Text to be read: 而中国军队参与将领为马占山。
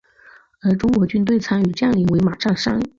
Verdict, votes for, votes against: accepted, 2, 0